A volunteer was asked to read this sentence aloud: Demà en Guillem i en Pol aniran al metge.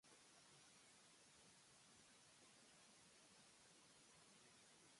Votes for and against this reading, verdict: 0, 2, rejected